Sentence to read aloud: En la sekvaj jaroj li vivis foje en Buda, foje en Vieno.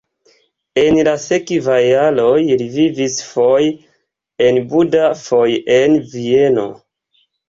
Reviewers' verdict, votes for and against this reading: rejected, 1, 2